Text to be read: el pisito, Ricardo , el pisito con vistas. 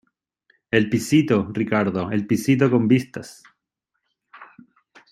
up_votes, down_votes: 2, 0